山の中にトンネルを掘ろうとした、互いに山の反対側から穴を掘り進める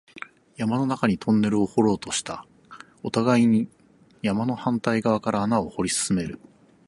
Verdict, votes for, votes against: rejected, 0, 6